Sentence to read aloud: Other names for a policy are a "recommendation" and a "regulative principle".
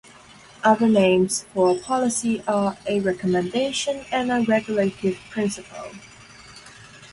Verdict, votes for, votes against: accepted, 2, 0